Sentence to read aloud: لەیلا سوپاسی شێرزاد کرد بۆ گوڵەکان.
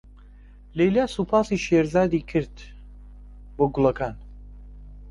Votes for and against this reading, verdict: 1, 2, rejected